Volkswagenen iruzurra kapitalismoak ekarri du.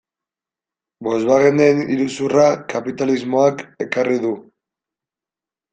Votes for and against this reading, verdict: 2, 0, accepted